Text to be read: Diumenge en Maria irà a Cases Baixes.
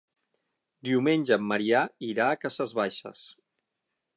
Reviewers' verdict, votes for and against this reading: rejected, 0, 6